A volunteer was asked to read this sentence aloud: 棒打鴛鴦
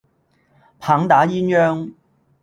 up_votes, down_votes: 1, 2